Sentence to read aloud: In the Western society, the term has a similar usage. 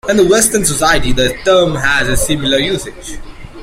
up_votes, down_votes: 2, 1